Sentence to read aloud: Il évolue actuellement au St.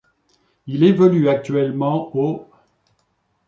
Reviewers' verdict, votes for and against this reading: rejected, 0, 2